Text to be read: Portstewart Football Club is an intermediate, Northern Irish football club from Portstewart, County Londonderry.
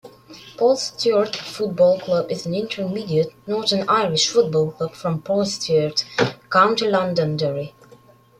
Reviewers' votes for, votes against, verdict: 2, 1, accepted